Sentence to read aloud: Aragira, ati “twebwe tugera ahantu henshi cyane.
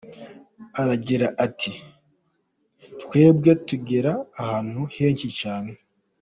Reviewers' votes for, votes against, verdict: 2, 0, accepted